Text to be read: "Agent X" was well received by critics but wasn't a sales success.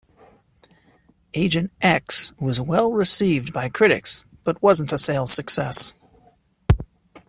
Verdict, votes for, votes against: accepted, 2, 0